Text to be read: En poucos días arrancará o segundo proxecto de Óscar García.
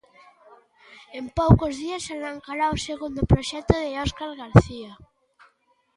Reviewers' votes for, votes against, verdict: 2, 0, accepted